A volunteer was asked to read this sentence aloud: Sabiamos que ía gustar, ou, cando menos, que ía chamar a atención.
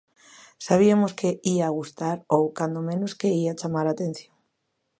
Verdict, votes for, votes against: rejected, 0, 2